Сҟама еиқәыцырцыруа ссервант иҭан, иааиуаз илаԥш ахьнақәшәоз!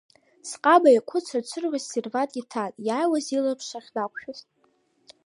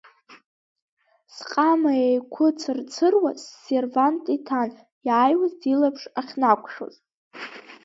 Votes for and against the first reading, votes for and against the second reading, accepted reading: 2, 0, 0, 2, first